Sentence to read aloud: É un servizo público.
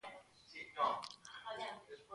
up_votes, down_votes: 0, 3